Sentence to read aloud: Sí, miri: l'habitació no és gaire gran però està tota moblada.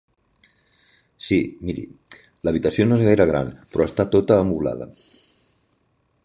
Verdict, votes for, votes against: rejected, 1, 3